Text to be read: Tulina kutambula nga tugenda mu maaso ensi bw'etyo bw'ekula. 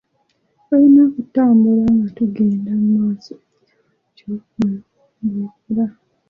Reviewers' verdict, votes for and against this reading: rejected, 0, 2